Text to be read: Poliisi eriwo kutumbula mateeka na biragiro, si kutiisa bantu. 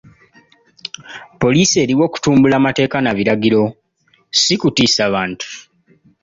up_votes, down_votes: 2, 0